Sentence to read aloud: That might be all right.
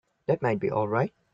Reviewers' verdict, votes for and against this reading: accepted, 2, 1